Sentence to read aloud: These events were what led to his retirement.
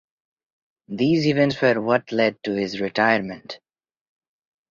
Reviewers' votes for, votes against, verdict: 0, 2, rejected